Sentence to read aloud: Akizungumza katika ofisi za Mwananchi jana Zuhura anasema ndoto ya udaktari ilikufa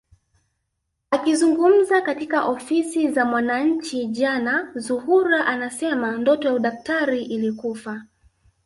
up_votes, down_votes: 0, 2